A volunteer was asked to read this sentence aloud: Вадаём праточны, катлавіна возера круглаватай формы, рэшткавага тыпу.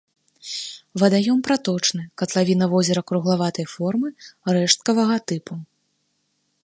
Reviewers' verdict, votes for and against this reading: accepted, 2, 1